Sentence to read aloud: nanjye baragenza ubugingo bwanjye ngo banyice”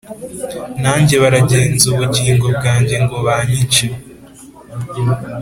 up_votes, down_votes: 2, 0